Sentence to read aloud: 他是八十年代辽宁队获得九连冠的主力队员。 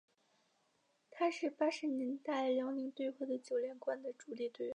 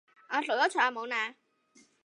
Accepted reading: first